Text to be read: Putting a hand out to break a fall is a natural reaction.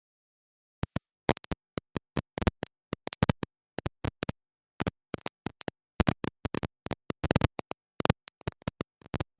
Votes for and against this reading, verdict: 0, 2, rejected